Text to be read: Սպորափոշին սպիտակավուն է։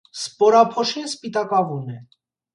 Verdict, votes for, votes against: accepted, 2, 0